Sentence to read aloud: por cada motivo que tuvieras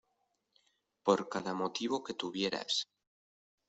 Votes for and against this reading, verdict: 1, 2, rejected